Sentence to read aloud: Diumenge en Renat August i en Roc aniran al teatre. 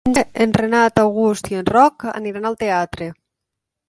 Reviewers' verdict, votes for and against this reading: rejected, 1, 2